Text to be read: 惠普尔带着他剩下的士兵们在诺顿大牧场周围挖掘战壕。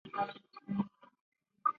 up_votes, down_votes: 0, 2